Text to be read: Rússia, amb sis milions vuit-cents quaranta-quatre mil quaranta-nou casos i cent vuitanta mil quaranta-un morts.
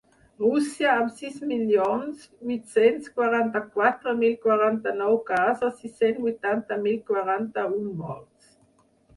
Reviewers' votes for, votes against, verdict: 4, 2, accepted